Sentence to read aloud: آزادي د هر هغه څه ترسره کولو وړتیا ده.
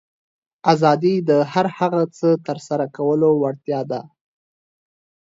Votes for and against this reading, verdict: 2, 0, accepted